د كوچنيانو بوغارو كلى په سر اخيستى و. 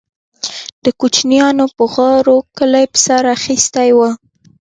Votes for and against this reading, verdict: 2, 0, accepted